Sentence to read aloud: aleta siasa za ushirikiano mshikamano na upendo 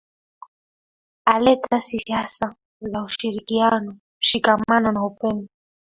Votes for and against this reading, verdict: 1, 2, rejected